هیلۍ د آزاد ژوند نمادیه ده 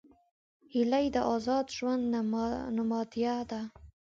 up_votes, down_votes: 2, 1